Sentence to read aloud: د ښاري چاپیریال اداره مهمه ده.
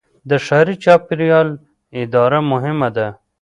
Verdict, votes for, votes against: accepted, 2, 0